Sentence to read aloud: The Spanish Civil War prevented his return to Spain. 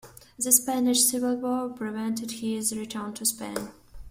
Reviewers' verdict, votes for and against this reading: rejected, 0, 2